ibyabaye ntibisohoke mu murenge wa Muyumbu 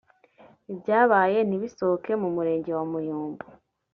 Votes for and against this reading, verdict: 2, 0, accepted